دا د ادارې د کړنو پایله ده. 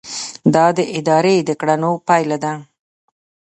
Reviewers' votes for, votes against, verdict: 0, 2, rejected